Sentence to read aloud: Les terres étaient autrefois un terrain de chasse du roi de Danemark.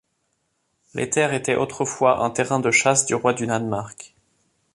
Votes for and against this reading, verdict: 0, 2, rejected